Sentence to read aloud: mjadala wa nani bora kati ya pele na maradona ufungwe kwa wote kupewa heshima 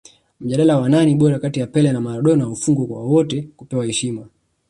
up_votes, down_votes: 2, 0